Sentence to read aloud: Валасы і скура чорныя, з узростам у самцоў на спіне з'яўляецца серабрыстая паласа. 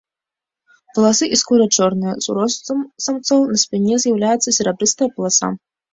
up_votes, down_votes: 1, 2